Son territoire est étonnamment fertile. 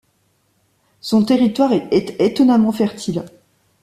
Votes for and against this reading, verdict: 1, 2, rejected